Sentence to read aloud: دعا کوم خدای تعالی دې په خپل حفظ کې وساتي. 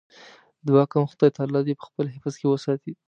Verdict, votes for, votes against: accepted, 3, 0